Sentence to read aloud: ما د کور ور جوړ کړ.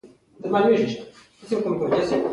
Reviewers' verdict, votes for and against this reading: accepted, 2, 1